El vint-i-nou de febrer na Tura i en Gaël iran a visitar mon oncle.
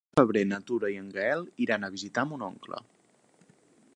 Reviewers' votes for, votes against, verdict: 0, 3, rejected